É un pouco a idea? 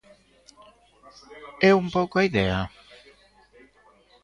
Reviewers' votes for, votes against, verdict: 2, 0, accepted